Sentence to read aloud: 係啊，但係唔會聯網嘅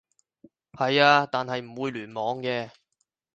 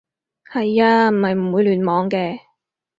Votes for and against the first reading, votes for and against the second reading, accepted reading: 4, 0, 2, 4, first